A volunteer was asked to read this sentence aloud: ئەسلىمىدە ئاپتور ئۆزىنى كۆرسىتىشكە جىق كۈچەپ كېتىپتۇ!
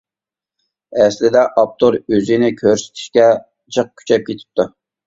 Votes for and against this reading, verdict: 1, 2, rejected